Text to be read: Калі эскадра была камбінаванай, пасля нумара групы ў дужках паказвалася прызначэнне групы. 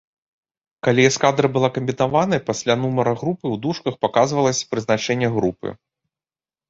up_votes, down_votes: 0, 2